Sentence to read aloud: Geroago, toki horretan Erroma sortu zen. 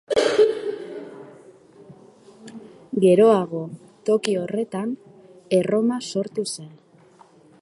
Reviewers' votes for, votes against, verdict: 1, 2, rejected